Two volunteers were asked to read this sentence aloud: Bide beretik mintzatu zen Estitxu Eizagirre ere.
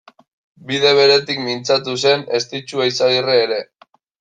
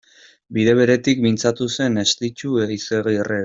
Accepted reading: first